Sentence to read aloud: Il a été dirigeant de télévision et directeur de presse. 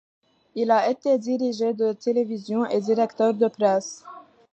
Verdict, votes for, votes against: rejected, 0, 2